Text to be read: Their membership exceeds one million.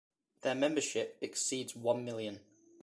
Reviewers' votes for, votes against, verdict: 2, 0, accepted